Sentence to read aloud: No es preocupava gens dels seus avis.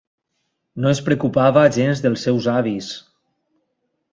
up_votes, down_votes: 2, 0